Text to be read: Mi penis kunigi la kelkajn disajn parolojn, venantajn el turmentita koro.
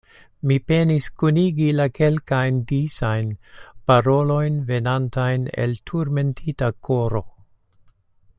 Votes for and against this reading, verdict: 2, 0, accepted